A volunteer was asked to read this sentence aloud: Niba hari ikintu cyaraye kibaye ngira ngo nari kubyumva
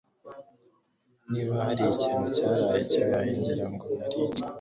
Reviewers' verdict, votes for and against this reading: accepted, 2, 0